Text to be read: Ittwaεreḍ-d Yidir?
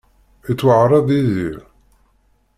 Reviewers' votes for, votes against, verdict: 1, 2, rejected